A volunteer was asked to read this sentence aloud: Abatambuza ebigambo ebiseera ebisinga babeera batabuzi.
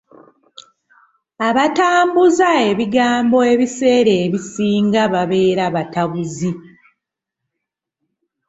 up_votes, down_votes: 2, 0